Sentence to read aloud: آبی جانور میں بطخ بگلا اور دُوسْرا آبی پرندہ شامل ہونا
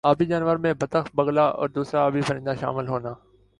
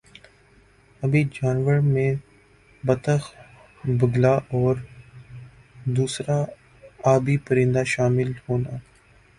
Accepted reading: first